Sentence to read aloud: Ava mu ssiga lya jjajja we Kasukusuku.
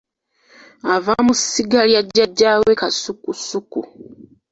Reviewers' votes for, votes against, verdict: 2, 1, accepted